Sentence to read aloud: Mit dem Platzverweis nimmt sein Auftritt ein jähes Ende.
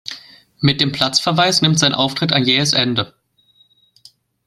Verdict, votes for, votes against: accepted, 2, 0